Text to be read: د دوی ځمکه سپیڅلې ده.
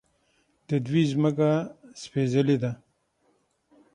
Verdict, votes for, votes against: accepted, 6, 0